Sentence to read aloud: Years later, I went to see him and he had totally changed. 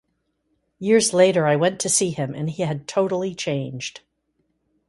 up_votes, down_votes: 2, 0